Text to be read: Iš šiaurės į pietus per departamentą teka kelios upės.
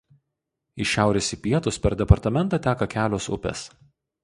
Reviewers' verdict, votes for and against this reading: rejected, 0, 2